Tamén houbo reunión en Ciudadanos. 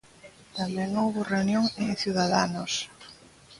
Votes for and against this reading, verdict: 2, 0, accepted